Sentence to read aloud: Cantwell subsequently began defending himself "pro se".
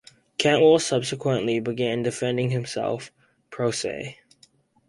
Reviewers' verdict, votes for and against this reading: accepted, 4, 0